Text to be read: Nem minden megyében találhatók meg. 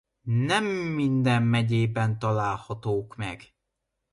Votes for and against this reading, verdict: 2, 0, accepted